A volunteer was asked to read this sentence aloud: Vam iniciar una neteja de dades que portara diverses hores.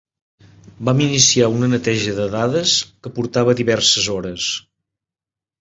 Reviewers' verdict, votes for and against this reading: accepted, 2, 0